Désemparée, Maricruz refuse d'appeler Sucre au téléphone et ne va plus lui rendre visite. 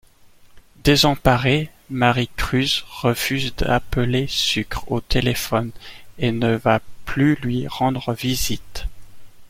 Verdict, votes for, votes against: accepted, 2, 0